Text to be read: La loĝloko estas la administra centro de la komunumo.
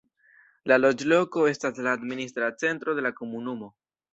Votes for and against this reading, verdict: 2, 0, accepted